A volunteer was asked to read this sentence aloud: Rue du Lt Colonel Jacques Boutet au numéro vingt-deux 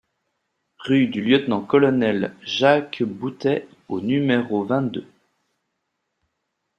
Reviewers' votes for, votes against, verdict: 2, 0, accepted